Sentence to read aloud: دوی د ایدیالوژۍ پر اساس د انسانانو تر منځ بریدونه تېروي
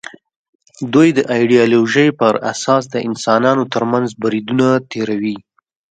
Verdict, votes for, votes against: rejected, 0, 2